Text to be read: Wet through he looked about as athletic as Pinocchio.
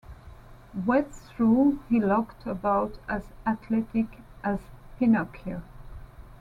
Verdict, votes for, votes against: accepted, 2, 0